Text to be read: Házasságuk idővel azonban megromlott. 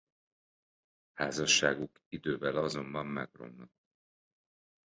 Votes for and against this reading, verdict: 0, 2, rejected